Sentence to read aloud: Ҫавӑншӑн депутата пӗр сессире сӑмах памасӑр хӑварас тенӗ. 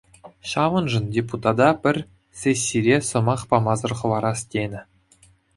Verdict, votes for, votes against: accepted, 2, 0